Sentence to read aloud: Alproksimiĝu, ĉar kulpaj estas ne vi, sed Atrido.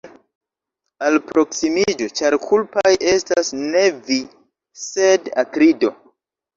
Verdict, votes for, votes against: rejected, 0, 2